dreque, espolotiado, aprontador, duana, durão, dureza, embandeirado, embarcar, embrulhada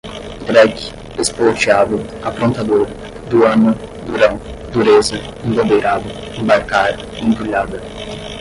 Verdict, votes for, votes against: rejected, 0, 10